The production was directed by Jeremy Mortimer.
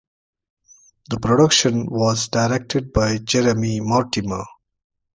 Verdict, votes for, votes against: accepted, 2, 0